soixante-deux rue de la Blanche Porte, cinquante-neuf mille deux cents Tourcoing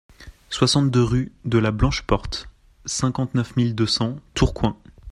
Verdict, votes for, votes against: accepted, 2, 0